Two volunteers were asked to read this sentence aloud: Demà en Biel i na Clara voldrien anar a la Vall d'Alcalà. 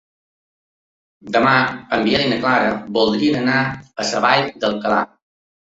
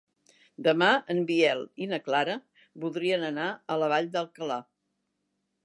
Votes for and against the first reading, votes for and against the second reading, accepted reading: 1, 3, 3, 0, second